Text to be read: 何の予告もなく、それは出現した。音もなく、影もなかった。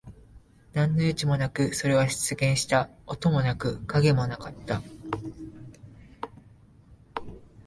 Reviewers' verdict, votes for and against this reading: rejected, 0, 2